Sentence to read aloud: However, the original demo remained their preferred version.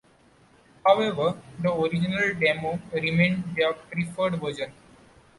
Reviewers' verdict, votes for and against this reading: accepted, 2, 0